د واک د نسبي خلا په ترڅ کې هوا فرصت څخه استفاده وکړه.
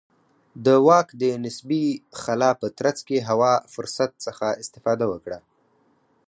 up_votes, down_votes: 4, 0